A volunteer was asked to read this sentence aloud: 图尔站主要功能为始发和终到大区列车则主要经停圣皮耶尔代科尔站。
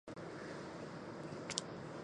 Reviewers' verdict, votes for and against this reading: rejected, 0, 2